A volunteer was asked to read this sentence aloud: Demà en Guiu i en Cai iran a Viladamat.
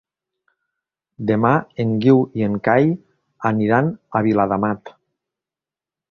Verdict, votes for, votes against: rejected, 1, 2